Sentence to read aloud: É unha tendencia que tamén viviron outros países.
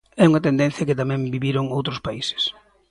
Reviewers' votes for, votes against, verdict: 2, 0, accepted